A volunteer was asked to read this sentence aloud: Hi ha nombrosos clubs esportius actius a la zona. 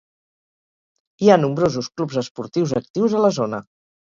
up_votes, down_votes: 2, 2